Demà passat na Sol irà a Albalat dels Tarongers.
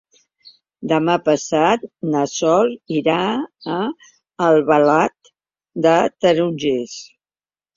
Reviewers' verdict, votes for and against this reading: rejected, 0, 2